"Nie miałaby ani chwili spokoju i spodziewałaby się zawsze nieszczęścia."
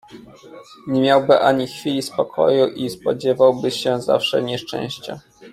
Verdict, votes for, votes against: rejected, 0, 2